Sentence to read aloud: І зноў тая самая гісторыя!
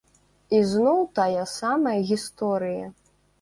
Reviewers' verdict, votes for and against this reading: accepted, 4, 0